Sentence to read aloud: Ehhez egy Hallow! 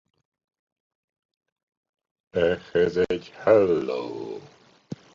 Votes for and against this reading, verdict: 2, 0, accepted